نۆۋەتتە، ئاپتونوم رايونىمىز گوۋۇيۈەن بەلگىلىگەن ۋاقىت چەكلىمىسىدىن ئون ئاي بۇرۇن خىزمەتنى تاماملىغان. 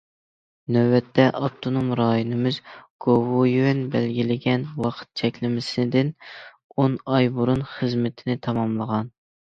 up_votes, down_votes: 0, 2